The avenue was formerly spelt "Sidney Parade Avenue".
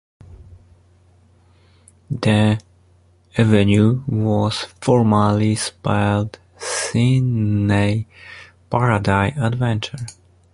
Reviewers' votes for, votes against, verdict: 0, 2, rejected